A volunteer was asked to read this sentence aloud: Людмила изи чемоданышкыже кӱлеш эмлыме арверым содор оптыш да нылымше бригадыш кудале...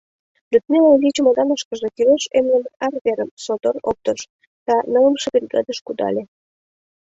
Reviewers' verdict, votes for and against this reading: accepted, 2, 0